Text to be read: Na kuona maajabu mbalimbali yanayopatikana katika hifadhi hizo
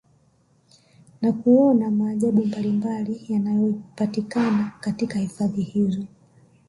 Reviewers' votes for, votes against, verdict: 1, 2, rejected